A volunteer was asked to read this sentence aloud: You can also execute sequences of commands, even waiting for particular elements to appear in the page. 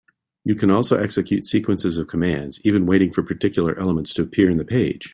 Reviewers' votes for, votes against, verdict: 2, 0, accepted